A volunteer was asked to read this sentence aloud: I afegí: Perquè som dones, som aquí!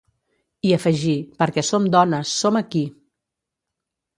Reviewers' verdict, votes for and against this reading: accepted, 2, 0